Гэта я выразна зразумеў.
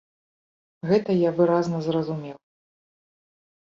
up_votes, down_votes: 2, 0